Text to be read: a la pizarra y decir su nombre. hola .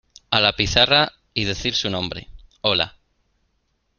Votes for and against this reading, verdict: 2, 0, accepted